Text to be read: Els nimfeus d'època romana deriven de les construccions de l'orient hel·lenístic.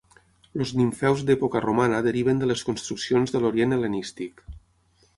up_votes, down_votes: 0, 6